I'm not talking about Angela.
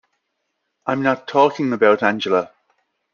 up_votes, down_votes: 2, 0